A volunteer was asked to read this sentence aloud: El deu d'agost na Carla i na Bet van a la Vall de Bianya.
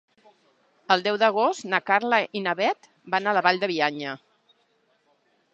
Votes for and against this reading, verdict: 2, 0, accepted